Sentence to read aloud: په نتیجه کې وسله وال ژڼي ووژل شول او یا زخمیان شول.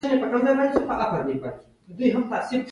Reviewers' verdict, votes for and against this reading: rejected, 0, 2